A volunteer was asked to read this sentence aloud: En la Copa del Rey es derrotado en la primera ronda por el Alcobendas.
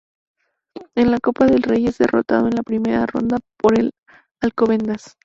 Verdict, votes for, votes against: accepted, 2, 0